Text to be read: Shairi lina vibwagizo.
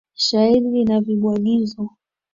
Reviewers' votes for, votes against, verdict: 2, 1, accepted